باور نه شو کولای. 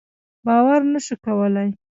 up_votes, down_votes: 2, 0